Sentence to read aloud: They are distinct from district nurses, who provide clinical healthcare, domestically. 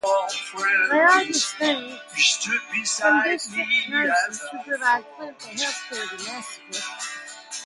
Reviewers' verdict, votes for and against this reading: rejected, 0, 2